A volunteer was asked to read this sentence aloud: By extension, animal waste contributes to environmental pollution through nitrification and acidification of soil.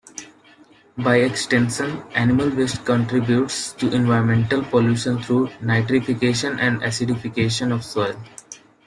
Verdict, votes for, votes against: rejected, 0, 2